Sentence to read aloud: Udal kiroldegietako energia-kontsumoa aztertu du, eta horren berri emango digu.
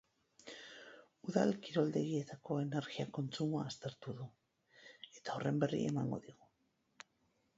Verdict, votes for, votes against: rejected, 0, 2